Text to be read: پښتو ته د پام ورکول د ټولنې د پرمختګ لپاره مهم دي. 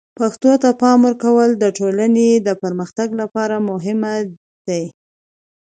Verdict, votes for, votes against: accepted, 2, 0